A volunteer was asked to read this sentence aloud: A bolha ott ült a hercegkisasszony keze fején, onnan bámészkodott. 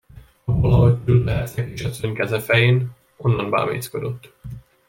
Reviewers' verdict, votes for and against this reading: rejected, 0, 2